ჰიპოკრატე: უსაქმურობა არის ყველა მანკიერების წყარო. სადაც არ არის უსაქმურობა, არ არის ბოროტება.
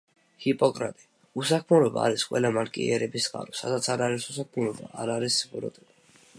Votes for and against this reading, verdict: 1, 2, rejected